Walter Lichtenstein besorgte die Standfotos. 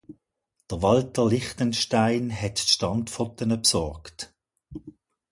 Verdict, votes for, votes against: rejected, 0, 2